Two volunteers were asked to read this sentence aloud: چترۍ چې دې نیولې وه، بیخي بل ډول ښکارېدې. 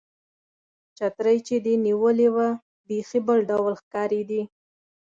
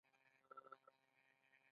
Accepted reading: first